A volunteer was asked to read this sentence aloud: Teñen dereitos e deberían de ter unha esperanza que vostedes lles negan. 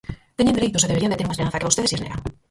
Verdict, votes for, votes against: rejected, 0, 4